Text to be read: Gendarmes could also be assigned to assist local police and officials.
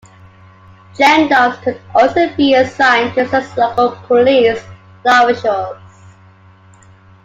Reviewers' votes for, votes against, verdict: 1, 2, rejected